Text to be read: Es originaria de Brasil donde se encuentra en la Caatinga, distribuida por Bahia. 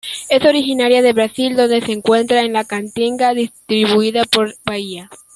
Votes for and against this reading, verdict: 0, 2, rejected